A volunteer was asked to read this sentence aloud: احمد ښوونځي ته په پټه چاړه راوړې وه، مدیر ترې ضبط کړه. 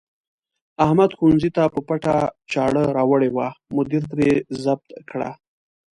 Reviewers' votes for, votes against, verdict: 2, 0, accepted